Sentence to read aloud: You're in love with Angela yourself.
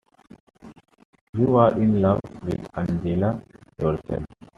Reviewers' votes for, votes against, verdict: 2, 0, accepted